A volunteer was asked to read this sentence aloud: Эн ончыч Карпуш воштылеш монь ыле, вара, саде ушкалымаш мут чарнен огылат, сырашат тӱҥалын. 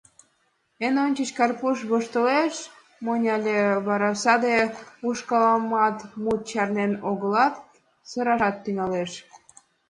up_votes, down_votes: 1, 2